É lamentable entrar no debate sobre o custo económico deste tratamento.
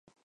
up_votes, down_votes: 0, 4